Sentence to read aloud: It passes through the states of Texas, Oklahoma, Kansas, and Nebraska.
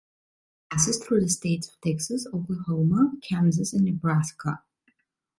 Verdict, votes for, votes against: rejected, 1, 2